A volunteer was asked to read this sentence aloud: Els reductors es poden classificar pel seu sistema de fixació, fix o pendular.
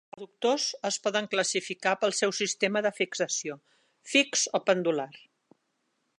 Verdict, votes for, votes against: rejected, 0, 2